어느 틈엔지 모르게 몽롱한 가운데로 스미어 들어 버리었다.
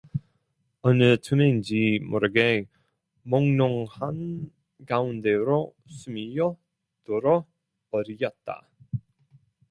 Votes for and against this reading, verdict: 0, 2, rejected